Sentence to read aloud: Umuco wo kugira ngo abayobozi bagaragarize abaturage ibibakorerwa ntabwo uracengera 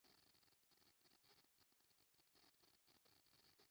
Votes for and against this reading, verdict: 0, 2, rejected